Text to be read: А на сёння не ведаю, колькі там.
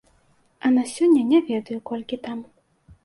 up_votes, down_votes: 2, 0